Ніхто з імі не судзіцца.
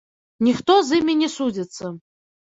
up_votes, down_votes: 2, 0